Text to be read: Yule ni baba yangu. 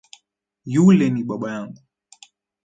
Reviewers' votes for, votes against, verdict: 0, 2, rejected